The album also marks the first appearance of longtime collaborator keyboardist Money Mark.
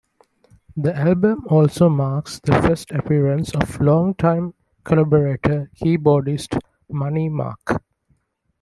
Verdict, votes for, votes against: accepted, 2, 0